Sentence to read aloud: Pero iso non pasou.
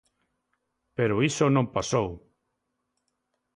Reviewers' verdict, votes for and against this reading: accepted, 2, 0